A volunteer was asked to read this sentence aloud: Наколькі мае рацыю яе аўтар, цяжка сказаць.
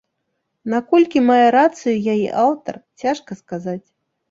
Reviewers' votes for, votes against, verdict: 2, 0, accepted